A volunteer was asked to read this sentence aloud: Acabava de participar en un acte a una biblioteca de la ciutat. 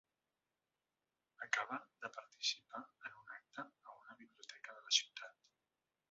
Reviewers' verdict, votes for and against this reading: rejected, 0, 2